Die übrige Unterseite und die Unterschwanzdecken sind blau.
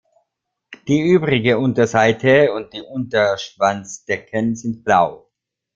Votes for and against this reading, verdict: 2, 1, accepted